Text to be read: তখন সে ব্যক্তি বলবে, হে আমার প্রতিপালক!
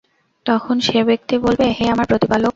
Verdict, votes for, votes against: accepted, 2, 0